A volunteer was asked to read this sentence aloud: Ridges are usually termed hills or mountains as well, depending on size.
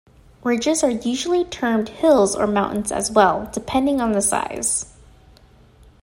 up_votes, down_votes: 0, 2